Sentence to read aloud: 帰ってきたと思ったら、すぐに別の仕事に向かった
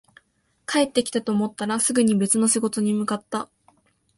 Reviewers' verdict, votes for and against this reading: accepted, 2, 0